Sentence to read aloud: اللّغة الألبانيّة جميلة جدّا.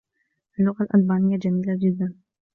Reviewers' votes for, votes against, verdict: 1, 2, rejected